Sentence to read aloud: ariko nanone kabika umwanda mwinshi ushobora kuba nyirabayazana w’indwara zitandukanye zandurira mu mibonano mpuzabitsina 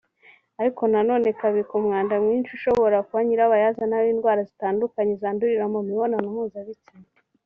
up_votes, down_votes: 2, 0